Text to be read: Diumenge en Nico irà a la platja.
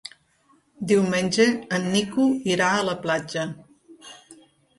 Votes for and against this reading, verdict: 3, 0, accepted